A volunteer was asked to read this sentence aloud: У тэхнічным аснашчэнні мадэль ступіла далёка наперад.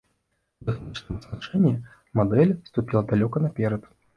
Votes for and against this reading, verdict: 0, 2, rejected